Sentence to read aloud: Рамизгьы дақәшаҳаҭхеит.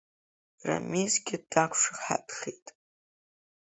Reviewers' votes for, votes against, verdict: 1, 2, rejected